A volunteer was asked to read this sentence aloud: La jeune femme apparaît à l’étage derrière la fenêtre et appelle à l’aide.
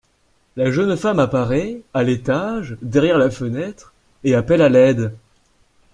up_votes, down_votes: 2, 0